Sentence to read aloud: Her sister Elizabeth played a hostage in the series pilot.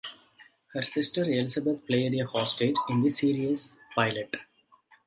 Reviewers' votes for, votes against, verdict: 2, 1, accepted